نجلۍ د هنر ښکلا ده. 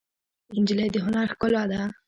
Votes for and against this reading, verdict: 2, 0, accepted